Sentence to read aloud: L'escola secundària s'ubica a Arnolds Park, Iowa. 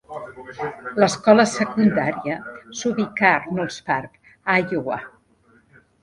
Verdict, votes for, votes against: rejected, 1, 3